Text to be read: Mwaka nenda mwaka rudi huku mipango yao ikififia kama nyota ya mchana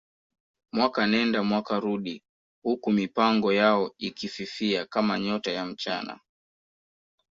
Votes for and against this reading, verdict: 2, 0, accepted